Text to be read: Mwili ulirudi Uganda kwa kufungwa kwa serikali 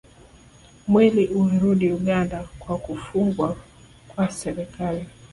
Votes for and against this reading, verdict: 0, 2, rejected